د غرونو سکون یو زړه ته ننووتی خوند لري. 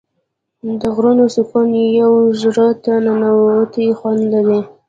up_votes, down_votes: 0, 2